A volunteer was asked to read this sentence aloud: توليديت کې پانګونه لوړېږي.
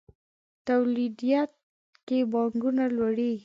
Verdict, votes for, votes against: rejected, 0, 2